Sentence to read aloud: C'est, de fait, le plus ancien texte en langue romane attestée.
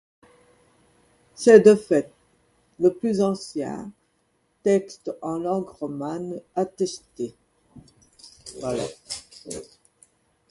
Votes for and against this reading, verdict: 1, 2, rejected